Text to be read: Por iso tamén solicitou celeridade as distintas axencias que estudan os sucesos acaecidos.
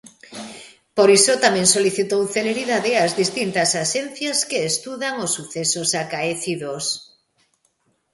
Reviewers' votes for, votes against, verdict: 2, 0, accepted